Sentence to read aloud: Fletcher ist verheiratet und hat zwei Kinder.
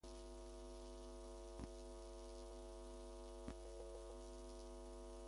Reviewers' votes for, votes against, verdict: 0, 2, rejected